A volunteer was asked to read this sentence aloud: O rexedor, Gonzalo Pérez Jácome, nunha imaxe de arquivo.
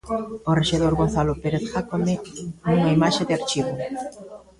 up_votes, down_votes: 0, 2